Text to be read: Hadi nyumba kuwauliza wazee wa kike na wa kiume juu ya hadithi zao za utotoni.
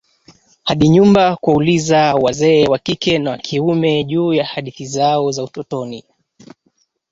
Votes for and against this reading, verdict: 1, 2, rejected